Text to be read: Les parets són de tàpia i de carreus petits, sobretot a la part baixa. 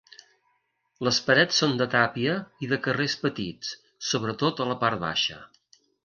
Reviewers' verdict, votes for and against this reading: rejected, 0, 3